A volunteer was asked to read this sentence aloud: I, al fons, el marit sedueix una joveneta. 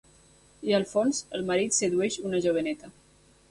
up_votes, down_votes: 2, 0